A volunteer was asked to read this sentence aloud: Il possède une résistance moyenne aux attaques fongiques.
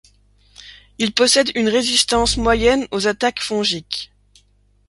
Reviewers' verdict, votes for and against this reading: accepted, 2, 0